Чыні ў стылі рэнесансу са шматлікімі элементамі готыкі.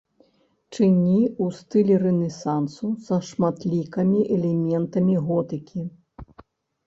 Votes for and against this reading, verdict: 0, 2, rejected